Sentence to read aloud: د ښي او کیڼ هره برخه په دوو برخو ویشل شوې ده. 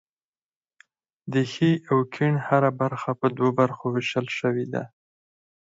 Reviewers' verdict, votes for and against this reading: accepted, 4, 2